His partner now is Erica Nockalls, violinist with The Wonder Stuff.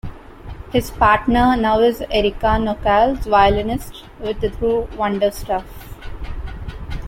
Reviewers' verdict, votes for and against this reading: rejected, 0, 2